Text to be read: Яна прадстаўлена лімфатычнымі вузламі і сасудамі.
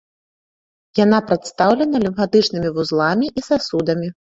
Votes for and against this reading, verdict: 2, 0, accepted